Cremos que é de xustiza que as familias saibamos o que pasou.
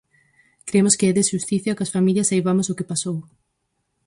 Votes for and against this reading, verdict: 2, 4, rejected